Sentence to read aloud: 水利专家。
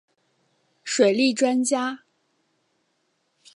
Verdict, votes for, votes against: accepted, 7, 0